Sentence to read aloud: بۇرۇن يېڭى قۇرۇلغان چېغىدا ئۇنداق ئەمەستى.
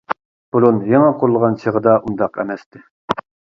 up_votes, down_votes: 2, 0